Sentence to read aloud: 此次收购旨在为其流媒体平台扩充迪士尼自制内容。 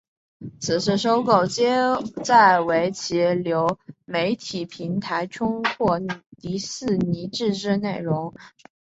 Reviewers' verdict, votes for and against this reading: rejected, 0, 2